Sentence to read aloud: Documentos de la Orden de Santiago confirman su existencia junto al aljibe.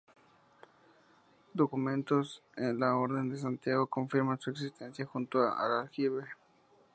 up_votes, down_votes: 2, 0